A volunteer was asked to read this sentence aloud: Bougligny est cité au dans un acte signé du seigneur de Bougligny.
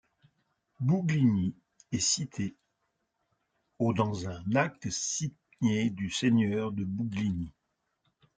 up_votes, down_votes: 0, 2